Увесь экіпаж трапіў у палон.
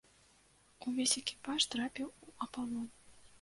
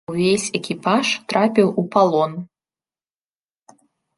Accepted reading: second